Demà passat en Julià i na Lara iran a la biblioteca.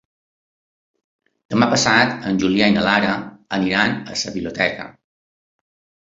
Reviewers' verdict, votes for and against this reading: rejected, 1, 2